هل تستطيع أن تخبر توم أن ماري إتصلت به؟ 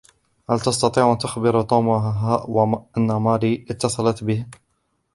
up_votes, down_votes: 1, 2